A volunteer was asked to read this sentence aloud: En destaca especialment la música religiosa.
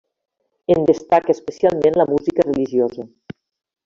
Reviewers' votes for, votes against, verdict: 0, 2, rejected